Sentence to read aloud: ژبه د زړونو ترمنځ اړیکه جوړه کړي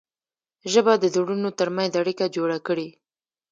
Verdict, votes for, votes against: rejected, 1, 2